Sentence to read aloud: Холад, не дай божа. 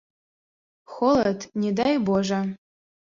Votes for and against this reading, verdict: 3, 0, accepted